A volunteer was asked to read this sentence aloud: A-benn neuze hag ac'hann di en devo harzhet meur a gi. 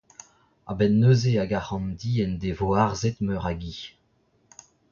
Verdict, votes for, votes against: rejected, 0, 2